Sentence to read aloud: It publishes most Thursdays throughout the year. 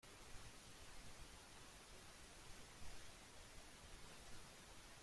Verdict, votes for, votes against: rejected, 0, 3